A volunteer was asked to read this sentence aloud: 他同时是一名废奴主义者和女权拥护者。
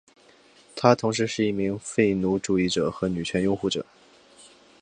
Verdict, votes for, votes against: accepted, 6, 0